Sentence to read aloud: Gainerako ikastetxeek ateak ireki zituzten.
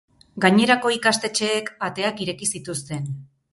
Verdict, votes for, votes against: accepted, 4, 0